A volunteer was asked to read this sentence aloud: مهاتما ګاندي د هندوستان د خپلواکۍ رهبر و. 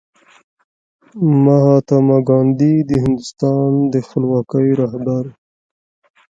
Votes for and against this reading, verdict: 1, 2, rejected